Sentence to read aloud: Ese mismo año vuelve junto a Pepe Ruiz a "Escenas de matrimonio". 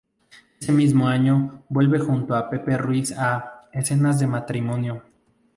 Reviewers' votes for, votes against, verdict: 2, 2, rejected